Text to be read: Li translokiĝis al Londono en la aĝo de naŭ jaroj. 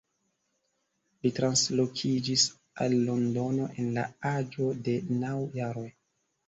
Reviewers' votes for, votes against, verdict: 1, 2, rejected